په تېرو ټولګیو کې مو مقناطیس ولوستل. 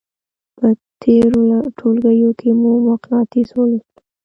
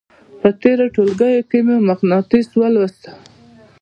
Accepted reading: second